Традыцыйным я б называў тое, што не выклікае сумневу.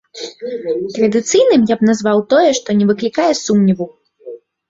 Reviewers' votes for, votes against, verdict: 1, 2, rejected